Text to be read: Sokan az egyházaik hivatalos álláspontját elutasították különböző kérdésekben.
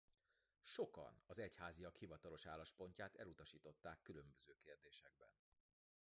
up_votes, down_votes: 1, 2